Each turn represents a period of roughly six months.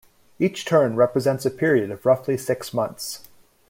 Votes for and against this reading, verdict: 2, 0, accepted